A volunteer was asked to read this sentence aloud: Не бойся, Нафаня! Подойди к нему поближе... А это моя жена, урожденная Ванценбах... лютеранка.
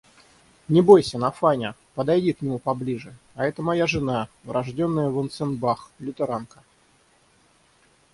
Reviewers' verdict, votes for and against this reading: accepted, 3, 0